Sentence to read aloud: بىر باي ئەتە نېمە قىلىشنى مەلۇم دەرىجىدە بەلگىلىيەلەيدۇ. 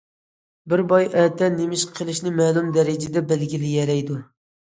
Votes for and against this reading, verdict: 1, 2, rejected